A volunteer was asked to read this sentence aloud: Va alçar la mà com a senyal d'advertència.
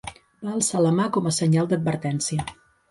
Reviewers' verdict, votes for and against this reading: rejected, 1, 2